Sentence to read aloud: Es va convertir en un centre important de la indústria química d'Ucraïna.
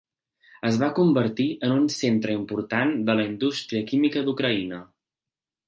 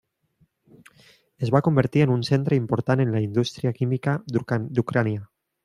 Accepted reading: first